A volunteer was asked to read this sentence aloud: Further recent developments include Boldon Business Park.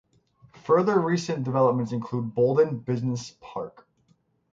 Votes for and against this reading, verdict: 6, 0, accepted